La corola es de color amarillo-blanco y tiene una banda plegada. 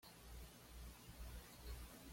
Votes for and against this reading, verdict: 1, 2, rejected